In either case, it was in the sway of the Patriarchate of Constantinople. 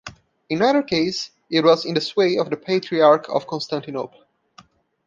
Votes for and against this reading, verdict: 1, 2, rejected